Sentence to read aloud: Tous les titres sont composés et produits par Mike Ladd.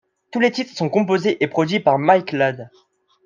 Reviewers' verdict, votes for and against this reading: accepted, 2, 0